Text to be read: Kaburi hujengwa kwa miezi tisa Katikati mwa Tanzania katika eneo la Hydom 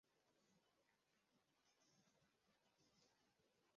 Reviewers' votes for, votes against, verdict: 0, 2, rejected